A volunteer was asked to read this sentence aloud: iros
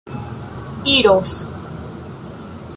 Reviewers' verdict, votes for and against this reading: accepted, 2, 0